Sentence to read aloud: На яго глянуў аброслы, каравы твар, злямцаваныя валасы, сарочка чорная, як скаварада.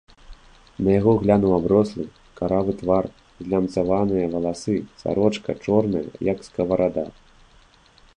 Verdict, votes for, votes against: accepted, 2, 1